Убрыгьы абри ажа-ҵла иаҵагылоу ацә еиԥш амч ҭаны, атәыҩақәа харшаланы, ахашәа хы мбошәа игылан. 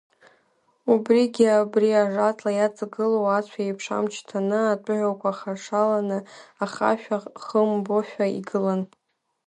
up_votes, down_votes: 0, 2